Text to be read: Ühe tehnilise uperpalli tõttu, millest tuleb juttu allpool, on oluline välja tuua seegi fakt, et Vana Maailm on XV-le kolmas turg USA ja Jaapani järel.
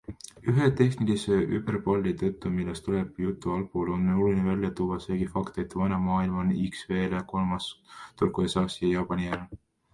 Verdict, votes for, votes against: rejected, 0, 3